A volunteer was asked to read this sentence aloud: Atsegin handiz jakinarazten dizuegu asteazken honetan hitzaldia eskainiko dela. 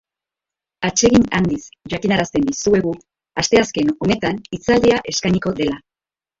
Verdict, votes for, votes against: accepted, 5, 1